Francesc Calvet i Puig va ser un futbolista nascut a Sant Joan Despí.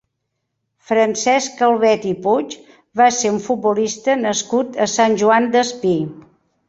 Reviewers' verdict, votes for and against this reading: accepted, 2, 0